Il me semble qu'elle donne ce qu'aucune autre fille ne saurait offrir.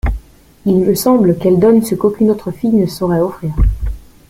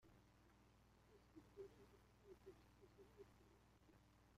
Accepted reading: first